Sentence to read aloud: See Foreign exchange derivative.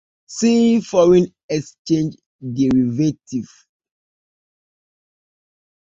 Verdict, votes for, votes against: rejected, 1, 2